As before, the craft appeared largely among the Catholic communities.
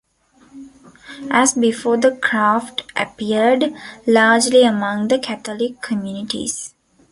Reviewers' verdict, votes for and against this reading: accepted, 2, 0